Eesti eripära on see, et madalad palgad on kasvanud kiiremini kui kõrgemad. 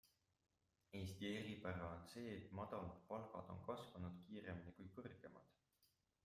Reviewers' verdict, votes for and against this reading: rejected, 0, 2